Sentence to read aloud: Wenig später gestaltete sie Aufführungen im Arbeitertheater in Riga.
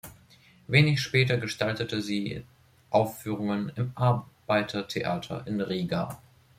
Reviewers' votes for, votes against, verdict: 1, 2, rejected